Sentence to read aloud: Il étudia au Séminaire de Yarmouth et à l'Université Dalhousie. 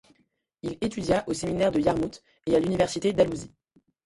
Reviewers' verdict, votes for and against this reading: rejected, 1, 2